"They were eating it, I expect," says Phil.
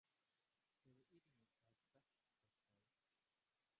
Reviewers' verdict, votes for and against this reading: rejected, 1, 3